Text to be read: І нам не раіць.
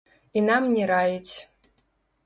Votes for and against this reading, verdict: 0, 2, rejected